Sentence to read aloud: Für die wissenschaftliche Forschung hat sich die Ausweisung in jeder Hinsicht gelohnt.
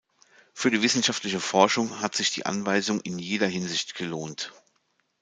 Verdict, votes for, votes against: rejected, 0, 2